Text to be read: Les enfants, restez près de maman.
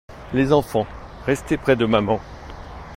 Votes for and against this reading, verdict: 1, 2, rejected